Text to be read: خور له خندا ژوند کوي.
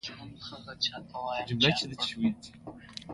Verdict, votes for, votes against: accepted, 2, 0